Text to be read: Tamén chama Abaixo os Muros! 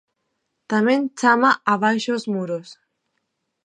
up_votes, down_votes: 2, 0